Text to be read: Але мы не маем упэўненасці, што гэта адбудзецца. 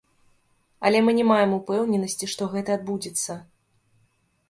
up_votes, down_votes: 0, 2